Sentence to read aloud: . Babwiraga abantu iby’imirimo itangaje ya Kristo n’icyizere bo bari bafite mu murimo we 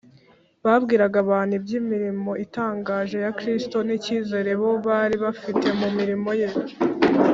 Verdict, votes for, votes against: rejected, 0, 2